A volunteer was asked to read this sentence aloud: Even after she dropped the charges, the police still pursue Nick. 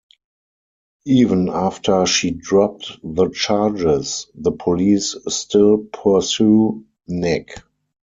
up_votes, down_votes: 0, 4